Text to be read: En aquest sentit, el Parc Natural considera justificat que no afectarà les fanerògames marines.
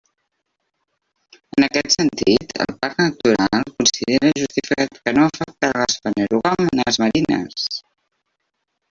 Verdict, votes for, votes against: rejected, 0, 2